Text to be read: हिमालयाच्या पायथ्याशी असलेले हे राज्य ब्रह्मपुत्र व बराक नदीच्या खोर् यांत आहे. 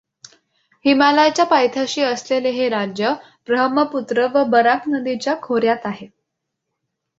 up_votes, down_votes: 2, 0